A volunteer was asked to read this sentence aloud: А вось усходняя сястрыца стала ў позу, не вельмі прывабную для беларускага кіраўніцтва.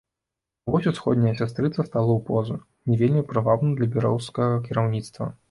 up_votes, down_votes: 0, 2